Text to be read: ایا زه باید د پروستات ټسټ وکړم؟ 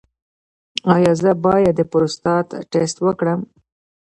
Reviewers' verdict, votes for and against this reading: rejected, 0, 2